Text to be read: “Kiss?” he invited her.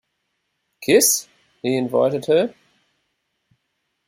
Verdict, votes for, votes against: accepted, 2, 0